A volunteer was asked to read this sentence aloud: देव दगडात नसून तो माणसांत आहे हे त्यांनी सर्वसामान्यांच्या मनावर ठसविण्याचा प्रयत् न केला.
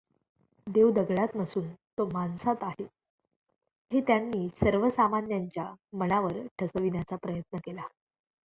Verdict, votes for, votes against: accepted, 2, 0